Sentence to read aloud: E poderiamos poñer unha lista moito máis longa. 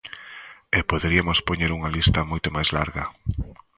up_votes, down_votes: 0, 3